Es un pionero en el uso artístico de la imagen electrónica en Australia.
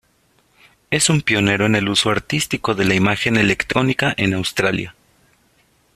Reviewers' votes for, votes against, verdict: 1, 2, rejected